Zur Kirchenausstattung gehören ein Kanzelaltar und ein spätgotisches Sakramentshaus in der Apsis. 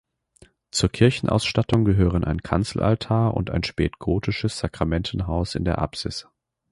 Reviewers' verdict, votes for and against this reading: rejected, 1, 2